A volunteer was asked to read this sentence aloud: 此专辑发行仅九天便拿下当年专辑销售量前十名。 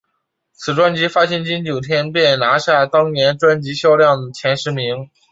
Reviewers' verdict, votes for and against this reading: accepted, 7, 0